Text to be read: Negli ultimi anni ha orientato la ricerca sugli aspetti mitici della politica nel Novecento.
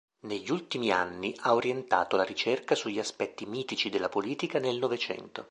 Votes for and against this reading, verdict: 2, 0, accepted